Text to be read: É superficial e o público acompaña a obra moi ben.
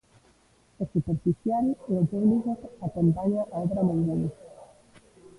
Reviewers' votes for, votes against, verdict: 1, 2, rejected